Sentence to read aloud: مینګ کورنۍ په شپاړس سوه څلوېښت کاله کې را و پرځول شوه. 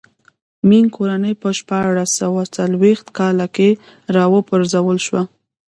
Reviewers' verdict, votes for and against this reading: rejected, 0, 2